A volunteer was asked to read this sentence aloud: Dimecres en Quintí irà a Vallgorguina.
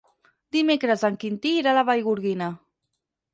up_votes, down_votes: 0, 4